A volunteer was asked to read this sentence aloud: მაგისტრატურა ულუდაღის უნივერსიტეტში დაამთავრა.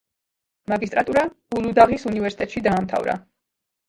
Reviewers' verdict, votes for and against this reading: rejected, 1, 2